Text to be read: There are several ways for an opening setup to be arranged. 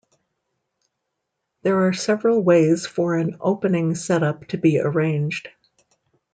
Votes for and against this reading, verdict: 2, 0, accepted